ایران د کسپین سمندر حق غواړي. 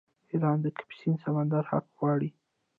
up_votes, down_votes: 1, 2